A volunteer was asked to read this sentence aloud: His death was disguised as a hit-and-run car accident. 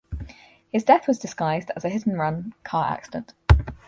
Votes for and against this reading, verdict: 4, 0, accepted